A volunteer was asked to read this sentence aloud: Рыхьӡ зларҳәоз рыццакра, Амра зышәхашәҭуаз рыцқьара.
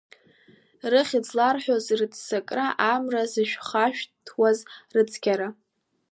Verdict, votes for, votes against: accepted, 3, 0